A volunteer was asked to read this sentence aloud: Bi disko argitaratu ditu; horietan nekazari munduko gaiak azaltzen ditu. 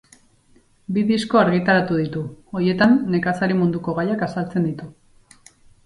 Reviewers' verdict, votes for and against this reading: rejected, 4, 4